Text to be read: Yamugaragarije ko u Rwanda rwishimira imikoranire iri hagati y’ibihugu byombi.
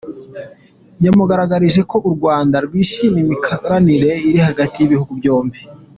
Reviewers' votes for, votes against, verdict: 2, 1, accepted